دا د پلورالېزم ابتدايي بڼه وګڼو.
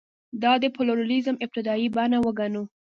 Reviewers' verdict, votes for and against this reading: rejected, 1, 2